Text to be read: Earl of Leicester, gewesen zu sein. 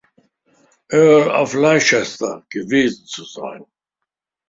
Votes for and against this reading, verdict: 1, 2, rejected